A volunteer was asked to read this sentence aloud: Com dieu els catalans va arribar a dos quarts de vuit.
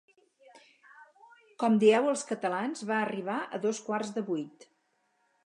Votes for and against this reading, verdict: 2, 0, accepted